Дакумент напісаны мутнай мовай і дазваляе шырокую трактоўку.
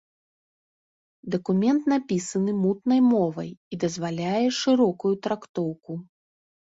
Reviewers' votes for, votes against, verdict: 2, 0, accepted